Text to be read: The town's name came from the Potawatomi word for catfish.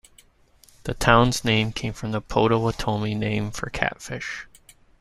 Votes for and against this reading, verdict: 0, 2, rejected